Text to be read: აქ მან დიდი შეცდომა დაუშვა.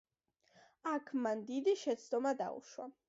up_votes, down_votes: 1, 2